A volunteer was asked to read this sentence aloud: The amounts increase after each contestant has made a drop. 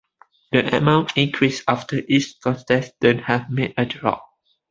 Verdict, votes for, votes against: accepted, 2, 0